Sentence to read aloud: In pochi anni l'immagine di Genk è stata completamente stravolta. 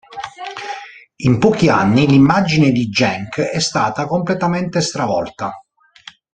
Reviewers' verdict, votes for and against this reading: accepted, 2, 0